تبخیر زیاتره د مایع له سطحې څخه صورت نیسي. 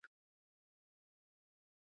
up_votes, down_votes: 1, 2